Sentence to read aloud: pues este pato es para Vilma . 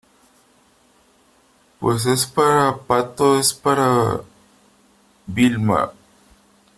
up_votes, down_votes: 0, 3